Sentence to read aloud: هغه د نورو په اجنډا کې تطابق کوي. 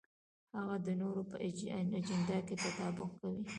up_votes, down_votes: 1, 2